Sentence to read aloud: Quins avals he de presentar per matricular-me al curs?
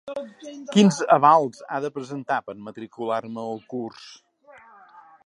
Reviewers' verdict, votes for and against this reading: rejected, 2, 4